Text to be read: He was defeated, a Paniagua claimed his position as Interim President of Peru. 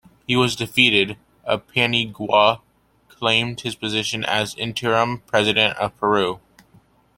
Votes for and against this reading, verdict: 2, 1, accepted